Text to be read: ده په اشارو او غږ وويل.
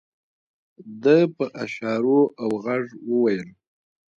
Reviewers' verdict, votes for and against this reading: accepted, 2, 1